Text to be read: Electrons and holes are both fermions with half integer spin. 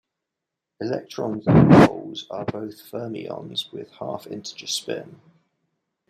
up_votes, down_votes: 0, 2